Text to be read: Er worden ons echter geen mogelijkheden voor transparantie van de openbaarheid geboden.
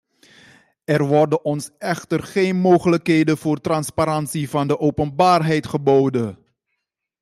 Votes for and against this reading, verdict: 2, 0, accepted